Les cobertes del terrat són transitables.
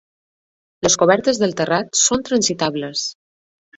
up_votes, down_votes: 2, 0